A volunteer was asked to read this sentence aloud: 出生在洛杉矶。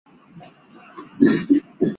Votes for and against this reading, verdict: 1, 3, rejected